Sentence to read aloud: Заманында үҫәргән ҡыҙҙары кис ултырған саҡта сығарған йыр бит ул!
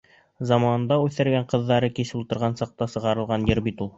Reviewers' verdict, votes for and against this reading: rejected, 1, 2